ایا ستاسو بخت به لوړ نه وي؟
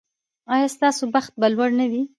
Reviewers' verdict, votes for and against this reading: rejected, 0, 2